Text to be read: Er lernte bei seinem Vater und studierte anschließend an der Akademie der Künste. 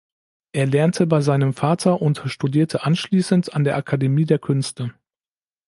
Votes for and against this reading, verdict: 2, 0, accepted